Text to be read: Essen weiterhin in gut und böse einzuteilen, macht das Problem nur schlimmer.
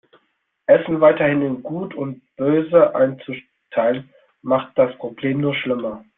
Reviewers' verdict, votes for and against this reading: rejected, 1, 2